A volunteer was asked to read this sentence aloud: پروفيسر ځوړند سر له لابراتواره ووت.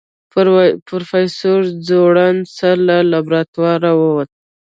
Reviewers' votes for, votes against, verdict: 2, 0, accepted